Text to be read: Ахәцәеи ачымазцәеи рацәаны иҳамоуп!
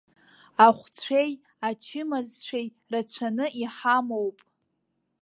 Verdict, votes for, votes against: rejected, 0, 2